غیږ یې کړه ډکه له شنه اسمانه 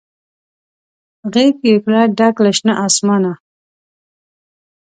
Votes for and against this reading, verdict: 2, 0, accepted